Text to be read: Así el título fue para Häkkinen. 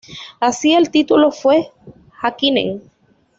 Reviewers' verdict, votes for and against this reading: rejected, 1, 2